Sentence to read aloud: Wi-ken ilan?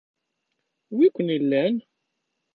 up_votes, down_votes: 0, 2